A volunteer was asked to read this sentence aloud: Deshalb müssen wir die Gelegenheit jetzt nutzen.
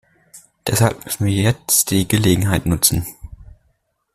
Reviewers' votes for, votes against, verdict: 1, 2, rejected